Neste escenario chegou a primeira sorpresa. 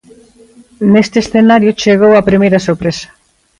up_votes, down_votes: 2, 0